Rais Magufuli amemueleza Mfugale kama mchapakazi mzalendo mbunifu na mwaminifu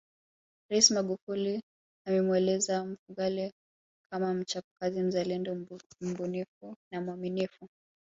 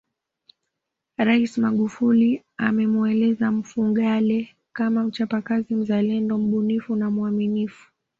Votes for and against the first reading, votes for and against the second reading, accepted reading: 1, 2, 2, 0, second